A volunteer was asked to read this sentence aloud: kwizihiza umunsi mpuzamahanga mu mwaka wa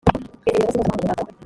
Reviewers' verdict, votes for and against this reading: rejected, 0, 2